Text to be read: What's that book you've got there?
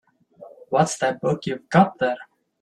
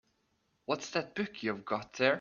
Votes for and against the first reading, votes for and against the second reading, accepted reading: 1, 2, 2, 0, second